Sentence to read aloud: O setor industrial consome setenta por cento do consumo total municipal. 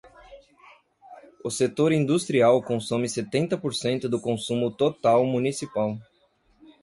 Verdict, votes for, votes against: accepted, 2, 0